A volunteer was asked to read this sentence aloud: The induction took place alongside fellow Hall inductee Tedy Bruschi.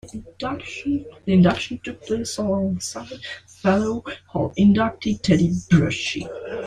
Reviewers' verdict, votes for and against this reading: rejected, 0, 2